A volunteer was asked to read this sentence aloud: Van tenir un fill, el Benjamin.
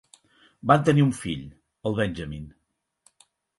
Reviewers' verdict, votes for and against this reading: accepted, 6, 0